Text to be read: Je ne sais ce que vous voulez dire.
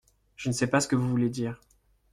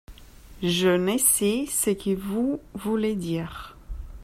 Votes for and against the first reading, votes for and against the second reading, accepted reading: 0, 2, 2, 1, second